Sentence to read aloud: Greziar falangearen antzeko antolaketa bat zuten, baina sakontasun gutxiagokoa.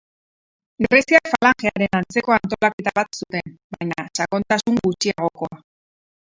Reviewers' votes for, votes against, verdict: 2, 2, rejected